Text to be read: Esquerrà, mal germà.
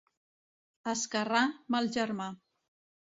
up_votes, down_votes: 2, 0